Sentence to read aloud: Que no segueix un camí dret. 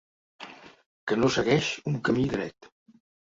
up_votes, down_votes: 3, 0